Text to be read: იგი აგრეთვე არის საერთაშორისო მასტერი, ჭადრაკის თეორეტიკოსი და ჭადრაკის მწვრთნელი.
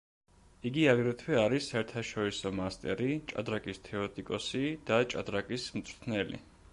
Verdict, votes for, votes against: accepted, 2, 0